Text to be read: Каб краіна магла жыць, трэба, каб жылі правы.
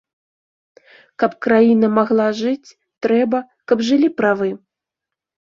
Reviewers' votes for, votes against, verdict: 2, 0, accepted